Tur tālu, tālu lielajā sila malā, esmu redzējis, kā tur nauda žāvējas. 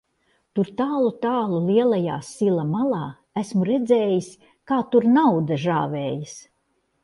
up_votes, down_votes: 3, 0